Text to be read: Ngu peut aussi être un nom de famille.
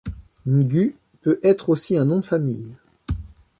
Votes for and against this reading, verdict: 0, 2, rejected